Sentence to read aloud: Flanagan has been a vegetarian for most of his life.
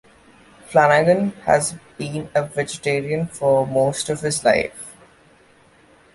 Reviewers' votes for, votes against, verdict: 2, 0, accepted